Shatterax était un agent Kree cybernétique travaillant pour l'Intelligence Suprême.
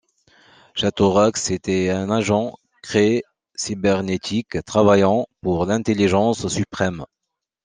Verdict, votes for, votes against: rejected, 1, 2